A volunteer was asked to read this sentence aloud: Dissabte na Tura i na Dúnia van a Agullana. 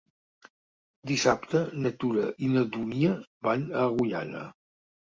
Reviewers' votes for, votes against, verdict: 4, 0, accepted